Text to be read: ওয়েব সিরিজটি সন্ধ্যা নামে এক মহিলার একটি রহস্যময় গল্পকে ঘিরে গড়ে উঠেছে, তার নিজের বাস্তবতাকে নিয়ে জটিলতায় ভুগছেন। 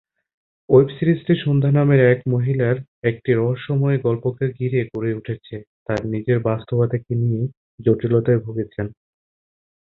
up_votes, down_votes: 3, 1